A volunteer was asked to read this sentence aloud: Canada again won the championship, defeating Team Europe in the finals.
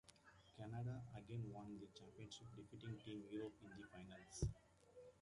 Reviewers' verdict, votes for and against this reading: rejected, 0, 2